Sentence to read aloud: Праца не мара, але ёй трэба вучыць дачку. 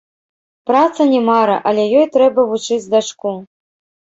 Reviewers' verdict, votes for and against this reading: rejected, 0, 2